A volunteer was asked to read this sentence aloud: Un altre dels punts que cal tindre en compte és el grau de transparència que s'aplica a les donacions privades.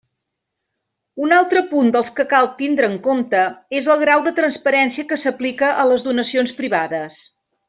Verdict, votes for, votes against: accepted, 2, 1